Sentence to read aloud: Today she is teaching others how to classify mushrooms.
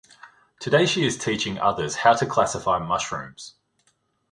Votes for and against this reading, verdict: 2, 0, accepted